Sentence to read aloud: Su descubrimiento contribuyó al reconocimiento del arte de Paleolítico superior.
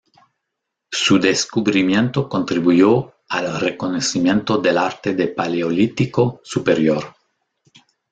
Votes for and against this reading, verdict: 2, 0, accepted